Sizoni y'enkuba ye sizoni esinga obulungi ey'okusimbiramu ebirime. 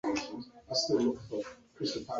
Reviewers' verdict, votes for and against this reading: accepted, 2, 0